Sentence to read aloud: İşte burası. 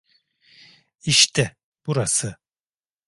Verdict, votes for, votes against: accepted, 2, 0